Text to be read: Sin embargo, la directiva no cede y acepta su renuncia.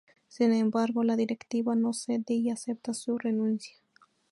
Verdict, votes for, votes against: accepted, 2, 0